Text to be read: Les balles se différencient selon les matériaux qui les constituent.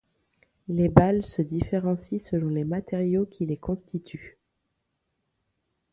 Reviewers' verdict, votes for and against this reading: accepted, 2, 0